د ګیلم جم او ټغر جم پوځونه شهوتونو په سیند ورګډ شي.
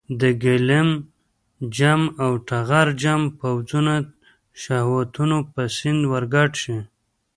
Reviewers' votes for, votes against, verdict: 2, 1, accepted